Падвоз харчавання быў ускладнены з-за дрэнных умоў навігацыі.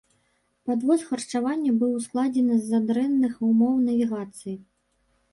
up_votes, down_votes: 2, 1